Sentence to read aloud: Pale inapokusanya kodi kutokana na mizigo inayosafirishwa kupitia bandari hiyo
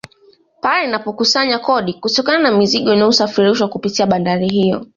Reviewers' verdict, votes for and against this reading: rejected, 1, 2